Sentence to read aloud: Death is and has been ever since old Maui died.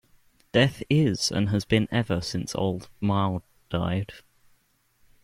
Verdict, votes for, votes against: rejected, 1, 2